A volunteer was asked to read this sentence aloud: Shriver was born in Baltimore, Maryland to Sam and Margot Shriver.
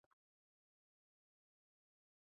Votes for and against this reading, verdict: 0, 2, rejected